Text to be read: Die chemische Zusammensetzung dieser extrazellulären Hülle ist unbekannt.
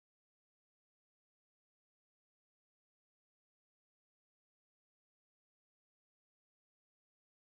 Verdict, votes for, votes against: rejected, 0, 4